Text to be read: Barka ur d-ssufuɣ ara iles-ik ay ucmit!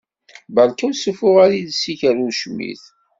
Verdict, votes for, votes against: accepted, 2, 0